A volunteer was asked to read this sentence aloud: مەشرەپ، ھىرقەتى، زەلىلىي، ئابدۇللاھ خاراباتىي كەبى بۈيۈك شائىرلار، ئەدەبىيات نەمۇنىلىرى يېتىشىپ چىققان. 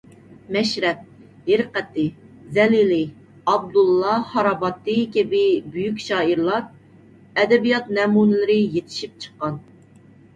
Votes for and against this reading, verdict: 2, 1, accepted